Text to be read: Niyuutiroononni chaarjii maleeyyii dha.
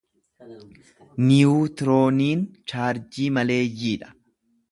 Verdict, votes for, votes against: rejected, 0, 2